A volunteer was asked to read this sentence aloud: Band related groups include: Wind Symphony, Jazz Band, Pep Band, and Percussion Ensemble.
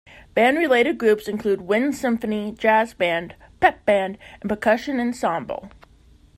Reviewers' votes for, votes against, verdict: 0, 2, rejected